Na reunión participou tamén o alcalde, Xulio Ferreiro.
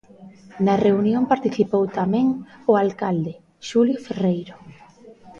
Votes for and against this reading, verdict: 1, 2, rejected